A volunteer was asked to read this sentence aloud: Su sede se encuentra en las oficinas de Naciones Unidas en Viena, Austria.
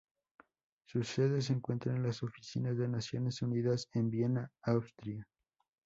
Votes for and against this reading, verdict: 2, 0, accepted